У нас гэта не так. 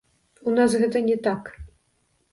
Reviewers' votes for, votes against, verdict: 1, 2, rejected